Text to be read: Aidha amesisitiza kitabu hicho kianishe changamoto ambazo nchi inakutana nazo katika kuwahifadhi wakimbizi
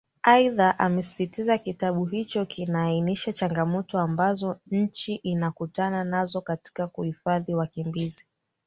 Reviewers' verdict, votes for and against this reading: rejected, 0, 2